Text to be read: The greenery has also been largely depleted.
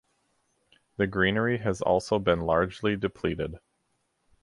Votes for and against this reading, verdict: 4, 0, accepted